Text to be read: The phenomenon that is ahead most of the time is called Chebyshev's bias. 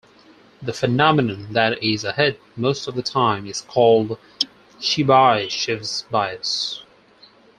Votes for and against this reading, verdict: 2, 4, rejected